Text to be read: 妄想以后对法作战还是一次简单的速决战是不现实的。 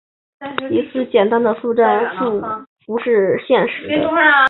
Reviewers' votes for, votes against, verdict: 1, 5, rejected